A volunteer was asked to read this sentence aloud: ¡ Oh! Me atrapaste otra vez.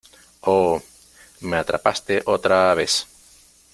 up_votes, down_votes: 0, 2